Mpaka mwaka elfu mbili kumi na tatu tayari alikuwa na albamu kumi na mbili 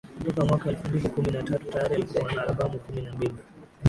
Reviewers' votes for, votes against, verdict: 4, 7, rejected